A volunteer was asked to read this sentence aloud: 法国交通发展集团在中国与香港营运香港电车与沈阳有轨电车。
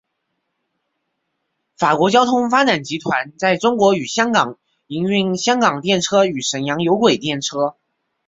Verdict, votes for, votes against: accepted, 3, 0